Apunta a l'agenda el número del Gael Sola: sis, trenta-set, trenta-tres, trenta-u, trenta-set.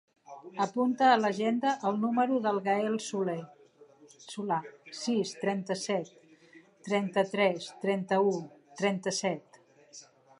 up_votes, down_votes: 0, 2